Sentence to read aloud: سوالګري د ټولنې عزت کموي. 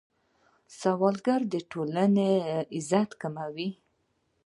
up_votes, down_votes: 1, 2